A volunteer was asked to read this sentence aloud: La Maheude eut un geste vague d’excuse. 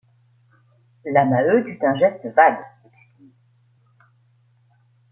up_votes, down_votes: 1, 2